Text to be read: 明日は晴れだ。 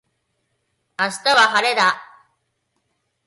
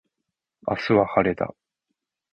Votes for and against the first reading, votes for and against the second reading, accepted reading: 1, 2, 2, 1, second